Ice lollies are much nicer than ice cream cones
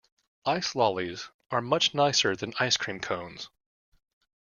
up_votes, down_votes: 2, 0